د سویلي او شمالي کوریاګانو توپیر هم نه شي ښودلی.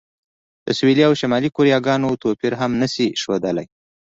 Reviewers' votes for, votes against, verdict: 2, 0, accepted